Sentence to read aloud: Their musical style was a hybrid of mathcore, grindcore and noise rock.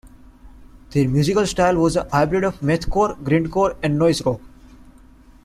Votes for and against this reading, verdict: 1, 2, rejected